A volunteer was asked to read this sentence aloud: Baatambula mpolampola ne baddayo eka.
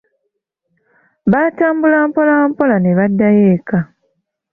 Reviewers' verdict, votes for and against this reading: accepted, 2, 0